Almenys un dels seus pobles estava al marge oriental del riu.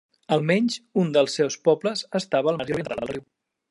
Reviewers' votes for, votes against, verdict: 0, 2, rejected